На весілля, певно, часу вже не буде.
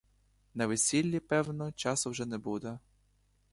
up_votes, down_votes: 0, 2